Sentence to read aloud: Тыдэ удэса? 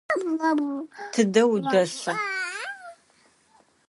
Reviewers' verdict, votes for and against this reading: rejected, 0, 2